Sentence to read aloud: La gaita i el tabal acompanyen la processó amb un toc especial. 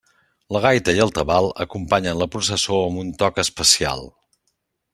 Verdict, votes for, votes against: accepted, 3, 0